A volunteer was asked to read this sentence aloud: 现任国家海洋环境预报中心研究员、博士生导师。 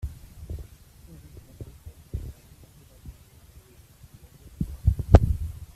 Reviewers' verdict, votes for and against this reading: rejected, 0, 2